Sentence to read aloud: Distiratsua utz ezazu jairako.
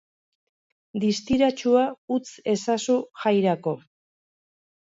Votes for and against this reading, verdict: 2, 0, accepted